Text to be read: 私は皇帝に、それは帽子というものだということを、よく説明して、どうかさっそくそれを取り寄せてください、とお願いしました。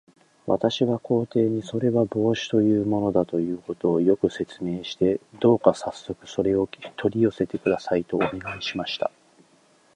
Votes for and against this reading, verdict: 0, 2, rejected